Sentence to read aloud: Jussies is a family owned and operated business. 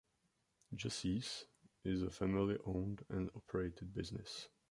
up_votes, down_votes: 2, 0